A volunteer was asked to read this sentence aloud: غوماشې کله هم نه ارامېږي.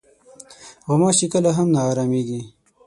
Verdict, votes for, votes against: rejected, 3, 6